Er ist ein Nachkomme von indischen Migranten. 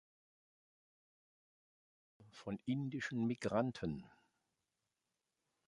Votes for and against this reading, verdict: 0, 4, rejected